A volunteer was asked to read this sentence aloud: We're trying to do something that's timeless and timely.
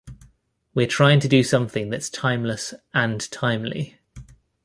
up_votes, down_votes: 2, 0